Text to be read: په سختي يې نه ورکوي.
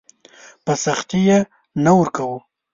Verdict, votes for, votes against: rejected, 1, 2